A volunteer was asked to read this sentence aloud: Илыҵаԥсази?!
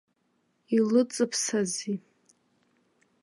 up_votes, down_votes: 1, 2